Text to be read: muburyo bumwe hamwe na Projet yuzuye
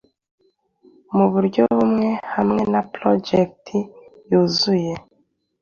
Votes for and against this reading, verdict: 2, 0, accepted